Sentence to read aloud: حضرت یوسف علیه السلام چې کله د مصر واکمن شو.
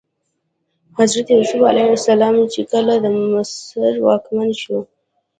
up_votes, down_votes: 0, 2